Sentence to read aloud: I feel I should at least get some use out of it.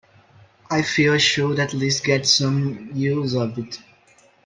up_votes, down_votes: 2, 1